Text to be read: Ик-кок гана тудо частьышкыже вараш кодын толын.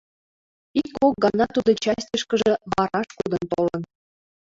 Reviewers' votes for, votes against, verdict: 0, 2, rejected